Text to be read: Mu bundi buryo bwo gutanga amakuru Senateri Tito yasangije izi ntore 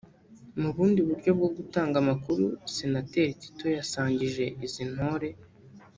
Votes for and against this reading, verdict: 1, 2, rejected